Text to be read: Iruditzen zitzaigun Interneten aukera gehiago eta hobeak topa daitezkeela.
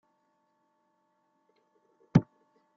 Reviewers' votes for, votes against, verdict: 0, 2, rejected